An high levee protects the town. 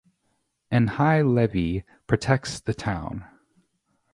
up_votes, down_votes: 2, 0